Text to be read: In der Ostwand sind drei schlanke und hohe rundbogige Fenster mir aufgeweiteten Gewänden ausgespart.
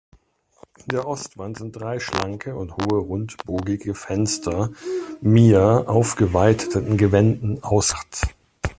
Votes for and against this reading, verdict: 0, 2, rejected